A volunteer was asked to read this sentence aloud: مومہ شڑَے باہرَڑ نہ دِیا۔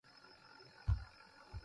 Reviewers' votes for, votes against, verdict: 0, 2, rejected